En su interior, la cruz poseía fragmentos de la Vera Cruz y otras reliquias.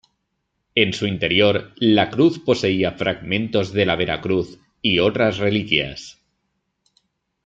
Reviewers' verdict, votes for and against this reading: accepted, 2, 0